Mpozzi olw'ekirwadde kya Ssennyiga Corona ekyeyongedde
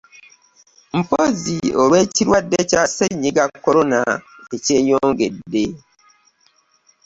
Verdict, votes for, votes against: accepted, 2, 0